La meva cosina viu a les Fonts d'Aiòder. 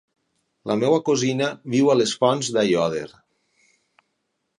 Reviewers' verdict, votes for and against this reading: accepted, 6, 0